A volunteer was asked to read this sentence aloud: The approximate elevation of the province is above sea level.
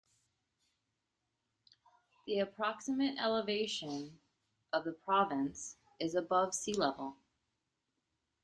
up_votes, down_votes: 2, 1